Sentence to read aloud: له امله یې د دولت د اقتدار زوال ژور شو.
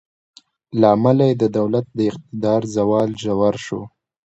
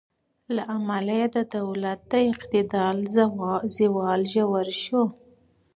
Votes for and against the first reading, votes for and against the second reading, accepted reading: 2, 0, 2, 4, first